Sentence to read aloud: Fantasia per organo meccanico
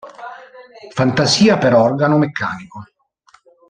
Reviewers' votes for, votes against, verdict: 1, 2, rejected